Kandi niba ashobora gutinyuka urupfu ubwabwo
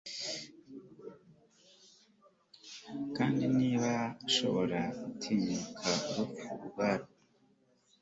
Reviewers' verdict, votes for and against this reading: accepted, 3, 0